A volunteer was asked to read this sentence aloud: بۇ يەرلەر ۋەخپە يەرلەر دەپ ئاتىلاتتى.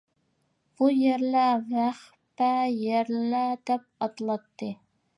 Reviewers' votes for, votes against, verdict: 2, 0, accepted